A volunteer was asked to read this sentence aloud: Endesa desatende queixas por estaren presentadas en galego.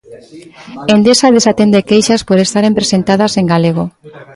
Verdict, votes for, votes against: accepted, 2, 1